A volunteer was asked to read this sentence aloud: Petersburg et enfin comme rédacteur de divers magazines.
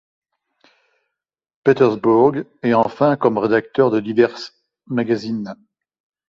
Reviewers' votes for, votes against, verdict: 1, 2, rejected